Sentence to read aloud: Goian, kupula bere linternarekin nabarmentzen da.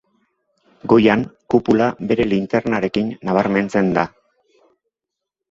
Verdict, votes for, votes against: accepted, 2, 0